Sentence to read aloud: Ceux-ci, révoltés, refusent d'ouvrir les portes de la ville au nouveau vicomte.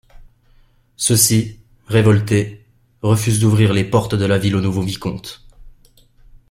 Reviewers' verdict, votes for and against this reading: accepted, 2, 0